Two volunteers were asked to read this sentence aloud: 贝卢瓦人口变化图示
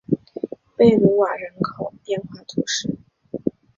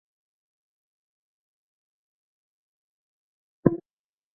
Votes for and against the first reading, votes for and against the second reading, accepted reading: 2, 0, 0, 4, first